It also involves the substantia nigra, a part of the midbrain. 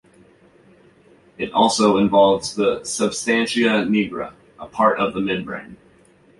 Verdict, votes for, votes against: accepted, 2, 0